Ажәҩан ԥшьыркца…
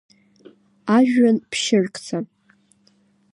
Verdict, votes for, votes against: rejected, 0, 2